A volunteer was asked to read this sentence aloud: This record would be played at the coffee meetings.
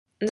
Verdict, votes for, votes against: rejected, 0, 2